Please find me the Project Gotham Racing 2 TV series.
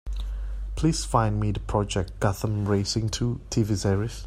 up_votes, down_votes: 0, 2